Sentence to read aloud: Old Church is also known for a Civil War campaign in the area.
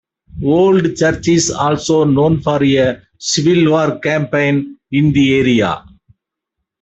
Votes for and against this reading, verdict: 1, 2, rejected